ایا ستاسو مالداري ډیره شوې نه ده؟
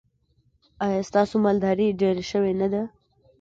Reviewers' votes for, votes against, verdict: 2, 0, accepted